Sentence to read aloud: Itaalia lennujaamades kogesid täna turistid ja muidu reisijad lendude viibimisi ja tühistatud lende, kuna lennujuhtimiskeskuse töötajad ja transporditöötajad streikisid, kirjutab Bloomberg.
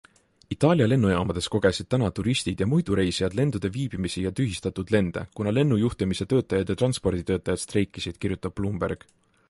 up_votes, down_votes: 1, 2